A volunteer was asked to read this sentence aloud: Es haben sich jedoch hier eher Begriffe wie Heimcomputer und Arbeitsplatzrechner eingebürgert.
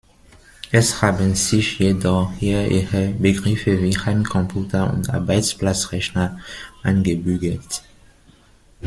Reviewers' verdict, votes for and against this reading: accepted, 2, 1